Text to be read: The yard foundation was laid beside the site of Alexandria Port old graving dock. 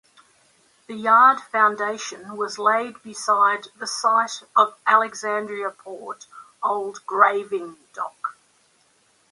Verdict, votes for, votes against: accepted, 2, 1